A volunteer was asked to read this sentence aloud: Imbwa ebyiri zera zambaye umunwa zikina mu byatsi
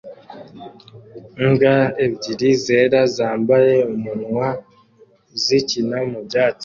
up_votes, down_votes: 2, 0